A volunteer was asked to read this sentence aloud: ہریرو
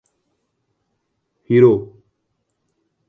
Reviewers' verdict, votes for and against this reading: accepted, 2, 1